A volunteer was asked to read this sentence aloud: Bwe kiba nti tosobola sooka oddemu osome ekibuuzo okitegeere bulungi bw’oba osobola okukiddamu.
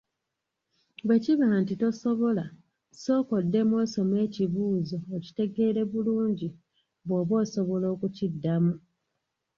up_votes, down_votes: 1, 2